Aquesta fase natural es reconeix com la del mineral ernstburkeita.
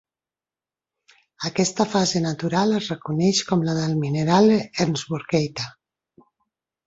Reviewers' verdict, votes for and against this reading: rejected, 1, 2